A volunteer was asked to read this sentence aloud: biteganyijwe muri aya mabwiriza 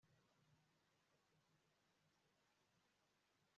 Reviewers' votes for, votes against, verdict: 0, 5, rejected